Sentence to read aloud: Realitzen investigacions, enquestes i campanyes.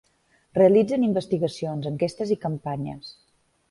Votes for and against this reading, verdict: 3, 0, accepted